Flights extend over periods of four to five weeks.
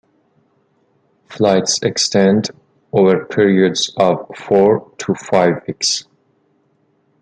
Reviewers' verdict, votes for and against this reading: accepted, 2, 0